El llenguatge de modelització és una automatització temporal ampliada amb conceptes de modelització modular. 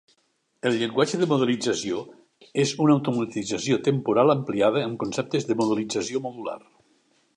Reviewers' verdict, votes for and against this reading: accepted, 2, 0